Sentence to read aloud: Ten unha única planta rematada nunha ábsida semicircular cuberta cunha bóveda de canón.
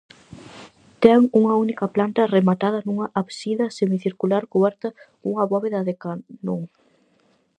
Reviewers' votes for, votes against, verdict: 2, 2, rejected